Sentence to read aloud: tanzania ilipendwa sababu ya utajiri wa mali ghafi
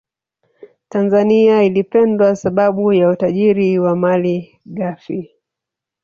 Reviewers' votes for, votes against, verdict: 1, 2, rejected